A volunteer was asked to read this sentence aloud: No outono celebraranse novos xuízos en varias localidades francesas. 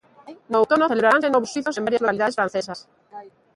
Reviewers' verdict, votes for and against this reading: rejected, 0, 2